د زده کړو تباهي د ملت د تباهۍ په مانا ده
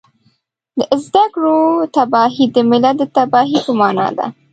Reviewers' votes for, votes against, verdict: 2, 0, accepted